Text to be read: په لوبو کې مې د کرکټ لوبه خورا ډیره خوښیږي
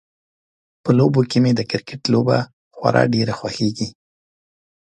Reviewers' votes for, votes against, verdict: 2, 0, accepted